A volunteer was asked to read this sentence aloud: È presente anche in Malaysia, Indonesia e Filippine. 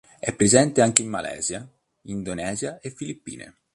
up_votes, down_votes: 2, 0